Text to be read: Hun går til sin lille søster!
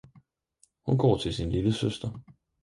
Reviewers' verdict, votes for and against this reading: accepted, 4, 0